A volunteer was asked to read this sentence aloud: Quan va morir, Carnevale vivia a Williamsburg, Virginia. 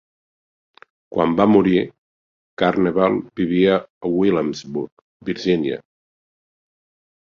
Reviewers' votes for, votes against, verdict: 2, 1, accepted